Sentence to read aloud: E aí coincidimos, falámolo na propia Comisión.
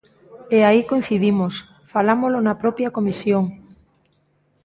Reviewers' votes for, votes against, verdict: 2, 0, accepted